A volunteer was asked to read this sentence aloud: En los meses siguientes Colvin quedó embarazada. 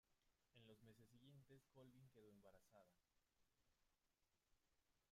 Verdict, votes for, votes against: rejected, 0, 2